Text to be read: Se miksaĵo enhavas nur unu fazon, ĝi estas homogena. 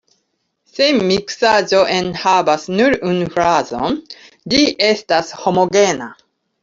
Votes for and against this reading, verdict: 1, 2, rejected